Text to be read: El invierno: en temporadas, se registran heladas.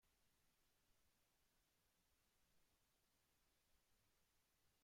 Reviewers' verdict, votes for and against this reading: rejected, 0, 2